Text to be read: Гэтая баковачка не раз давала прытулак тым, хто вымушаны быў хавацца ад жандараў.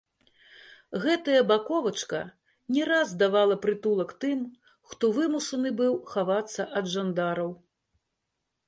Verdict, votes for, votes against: rejected, 1, 2